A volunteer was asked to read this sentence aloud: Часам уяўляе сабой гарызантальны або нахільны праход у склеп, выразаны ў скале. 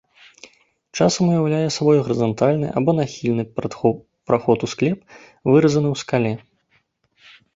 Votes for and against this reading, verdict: 0, 2, rejected